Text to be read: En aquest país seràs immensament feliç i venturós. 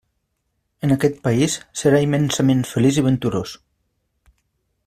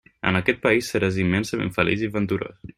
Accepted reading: second